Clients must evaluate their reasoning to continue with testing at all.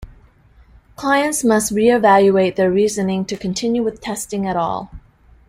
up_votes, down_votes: 0, 2